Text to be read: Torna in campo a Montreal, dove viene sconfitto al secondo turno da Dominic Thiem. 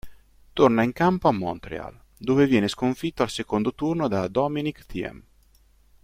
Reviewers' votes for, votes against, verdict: 2, 0, accepted